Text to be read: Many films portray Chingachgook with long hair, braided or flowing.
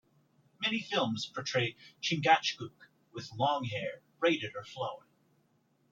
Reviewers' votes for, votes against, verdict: 2, 0, accepted